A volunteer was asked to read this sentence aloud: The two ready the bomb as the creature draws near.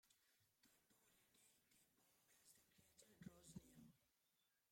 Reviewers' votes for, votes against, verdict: 0, 2, rejected